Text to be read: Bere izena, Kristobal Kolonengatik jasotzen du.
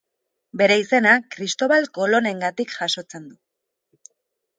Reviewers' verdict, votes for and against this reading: accepted, 2, 0